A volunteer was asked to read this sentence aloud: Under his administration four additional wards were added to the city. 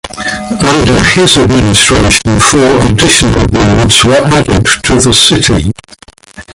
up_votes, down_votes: 0, 2